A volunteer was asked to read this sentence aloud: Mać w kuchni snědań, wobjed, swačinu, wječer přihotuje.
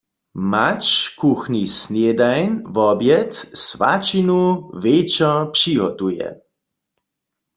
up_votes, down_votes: 1, 2